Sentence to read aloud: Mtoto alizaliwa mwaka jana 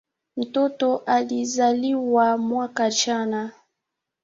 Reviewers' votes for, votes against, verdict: 1, 2, rejected